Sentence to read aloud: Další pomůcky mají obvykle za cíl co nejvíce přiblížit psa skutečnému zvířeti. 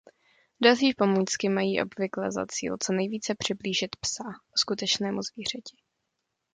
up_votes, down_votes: 1, 2